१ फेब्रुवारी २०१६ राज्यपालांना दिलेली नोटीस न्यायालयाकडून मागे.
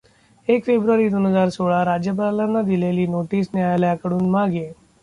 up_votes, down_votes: 0, 2